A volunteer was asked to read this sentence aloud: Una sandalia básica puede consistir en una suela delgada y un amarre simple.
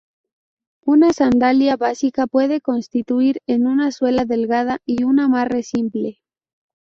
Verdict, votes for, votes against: rejected, 0, 2